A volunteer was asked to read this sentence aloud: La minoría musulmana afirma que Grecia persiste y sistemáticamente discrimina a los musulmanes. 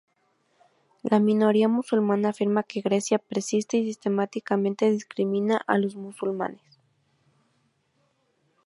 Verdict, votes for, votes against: accepted, 2, 0